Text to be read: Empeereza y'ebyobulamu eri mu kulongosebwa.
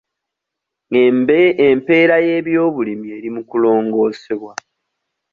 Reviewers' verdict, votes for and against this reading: rejected, 0, 2